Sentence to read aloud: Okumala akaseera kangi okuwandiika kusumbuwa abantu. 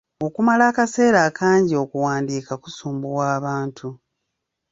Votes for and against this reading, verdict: 0, 2, rejected